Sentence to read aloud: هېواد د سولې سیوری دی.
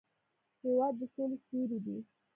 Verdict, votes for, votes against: rejected, 1, 2